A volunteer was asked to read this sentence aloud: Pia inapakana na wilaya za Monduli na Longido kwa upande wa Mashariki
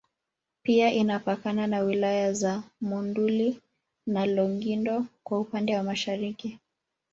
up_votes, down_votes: 1, 2